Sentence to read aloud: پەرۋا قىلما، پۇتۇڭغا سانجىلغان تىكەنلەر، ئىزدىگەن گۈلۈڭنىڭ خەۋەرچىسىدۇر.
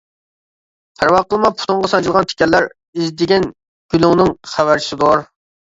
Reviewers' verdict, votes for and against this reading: accepted, 2, 0